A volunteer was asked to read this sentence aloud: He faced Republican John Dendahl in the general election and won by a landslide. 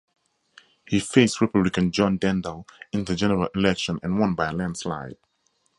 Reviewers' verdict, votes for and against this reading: accepted, 4, 0